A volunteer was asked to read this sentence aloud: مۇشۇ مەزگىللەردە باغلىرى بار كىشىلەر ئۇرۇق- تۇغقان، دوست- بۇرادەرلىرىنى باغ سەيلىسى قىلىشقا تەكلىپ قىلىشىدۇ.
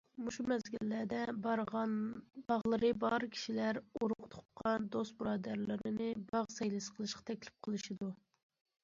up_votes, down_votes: 1, 2